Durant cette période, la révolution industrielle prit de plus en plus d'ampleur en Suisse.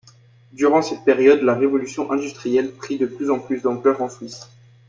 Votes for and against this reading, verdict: 2, 0, accepted